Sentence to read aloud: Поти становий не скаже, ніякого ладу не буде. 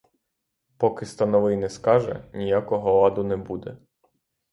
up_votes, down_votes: 0, 3